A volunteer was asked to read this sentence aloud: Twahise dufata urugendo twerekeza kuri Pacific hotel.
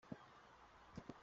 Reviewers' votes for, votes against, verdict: 0, 2, rejected